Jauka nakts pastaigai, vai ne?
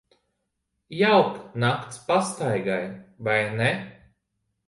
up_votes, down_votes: 2, 1